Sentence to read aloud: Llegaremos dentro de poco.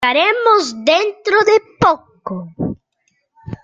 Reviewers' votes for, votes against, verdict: 0, 2, rejected